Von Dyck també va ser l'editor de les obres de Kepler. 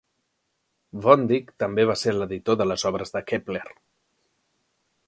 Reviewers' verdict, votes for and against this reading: accepted, 2, 0